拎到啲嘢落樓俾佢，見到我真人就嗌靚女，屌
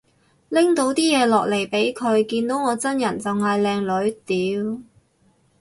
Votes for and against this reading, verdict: 0, 2, rejected